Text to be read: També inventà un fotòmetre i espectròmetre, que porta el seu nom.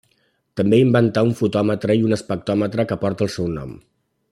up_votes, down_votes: 2, 0